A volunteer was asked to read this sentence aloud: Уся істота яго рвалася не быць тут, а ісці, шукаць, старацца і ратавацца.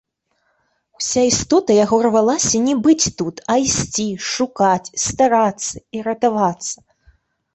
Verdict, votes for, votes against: rejected, 1, 2